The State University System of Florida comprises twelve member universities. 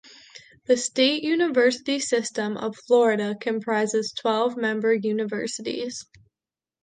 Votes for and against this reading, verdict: 3, 0, accepted